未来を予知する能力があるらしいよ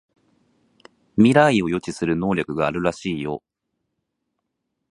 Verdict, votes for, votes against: rejected, 2, 2